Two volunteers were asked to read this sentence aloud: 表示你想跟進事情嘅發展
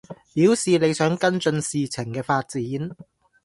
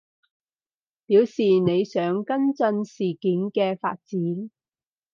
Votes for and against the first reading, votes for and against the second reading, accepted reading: 2, 0, 0, 4, first